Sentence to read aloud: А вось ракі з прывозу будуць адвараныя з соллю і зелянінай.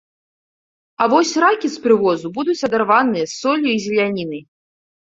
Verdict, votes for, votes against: rejected, 1, 2